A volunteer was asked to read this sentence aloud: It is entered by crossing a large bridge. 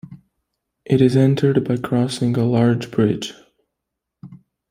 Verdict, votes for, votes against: accepted, 2, 0